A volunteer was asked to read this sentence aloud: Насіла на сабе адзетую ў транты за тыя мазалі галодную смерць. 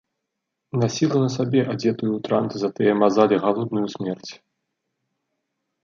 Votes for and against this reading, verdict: 1, 2, rejected